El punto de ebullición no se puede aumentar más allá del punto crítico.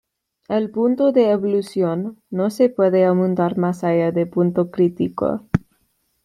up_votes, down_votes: 2, 1